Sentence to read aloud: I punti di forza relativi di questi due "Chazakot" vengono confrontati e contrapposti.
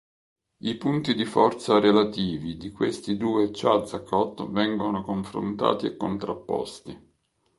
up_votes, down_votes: 2, 0